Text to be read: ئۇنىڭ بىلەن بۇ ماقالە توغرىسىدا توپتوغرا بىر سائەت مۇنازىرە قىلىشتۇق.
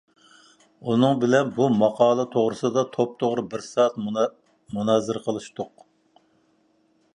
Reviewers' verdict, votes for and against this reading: rejected, 1, 2